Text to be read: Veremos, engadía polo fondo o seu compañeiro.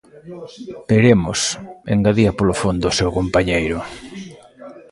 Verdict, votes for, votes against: accepted, 2, 1